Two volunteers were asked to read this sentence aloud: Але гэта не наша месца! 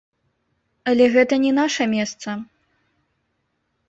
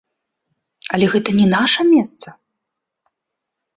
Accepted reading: second